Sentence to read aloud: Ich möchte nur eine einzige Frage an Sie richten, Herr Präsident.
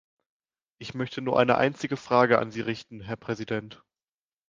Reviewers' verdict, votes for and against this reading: accepted, 2, 0